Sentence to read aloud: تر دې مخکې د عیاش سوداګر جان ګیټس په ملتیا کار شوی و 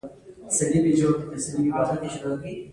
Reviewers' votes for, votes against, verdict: 1, 2, rejected